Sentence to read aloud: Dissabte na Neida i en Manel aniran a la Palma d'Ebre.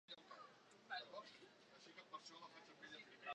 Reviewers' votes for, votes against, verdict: 0, 2, rejected